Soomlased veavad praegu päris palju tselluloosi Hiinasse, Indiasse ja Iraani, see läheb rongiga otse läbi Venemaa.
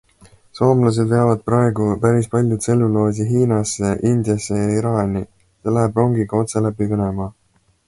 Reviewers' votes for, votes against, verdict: 2, 0, accepted